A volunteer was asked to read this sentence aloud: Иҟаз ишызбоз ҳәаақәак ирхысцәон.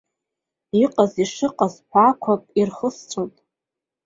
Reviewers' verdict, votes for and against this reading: rejected, 2, 3